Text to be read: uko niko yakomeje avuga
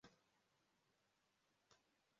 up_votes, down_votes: 0, 2